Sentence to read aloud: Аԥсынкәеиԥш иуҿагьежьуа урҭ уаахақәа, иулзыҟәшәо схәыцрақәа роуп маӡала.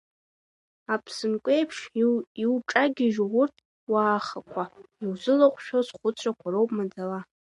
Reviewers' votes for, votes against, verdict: 0, 2, rejected